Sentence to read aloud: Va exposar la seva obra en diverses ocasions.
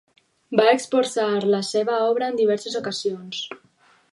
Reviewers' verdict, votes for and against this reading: accepted, 4, 0